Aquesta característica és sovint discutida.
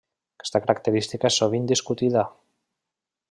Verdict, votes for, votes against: rejected, 1, 2